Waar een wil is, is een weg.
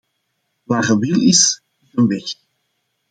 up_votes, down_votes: 0, 2